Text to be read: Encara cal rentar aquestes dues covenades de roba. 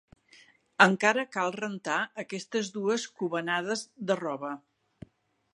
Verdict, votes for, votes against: accepted, 4, 0